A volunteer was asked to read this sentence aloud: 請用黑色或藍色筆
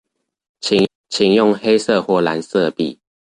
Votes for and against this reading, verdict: 1, 2, rejected